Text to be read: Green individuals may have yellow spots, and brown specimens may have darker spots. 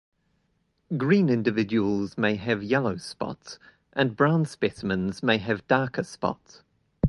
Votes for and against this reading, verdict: 8, 1, accepted